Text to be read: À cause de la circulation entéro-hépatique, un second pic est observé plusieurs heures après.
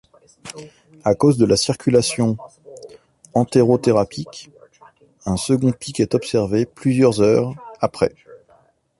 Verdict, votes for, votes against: rejected, 1, 2